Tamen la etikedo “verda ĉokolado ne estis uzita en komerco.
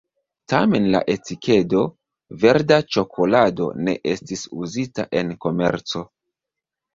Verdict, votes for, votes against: accepted, 2, 0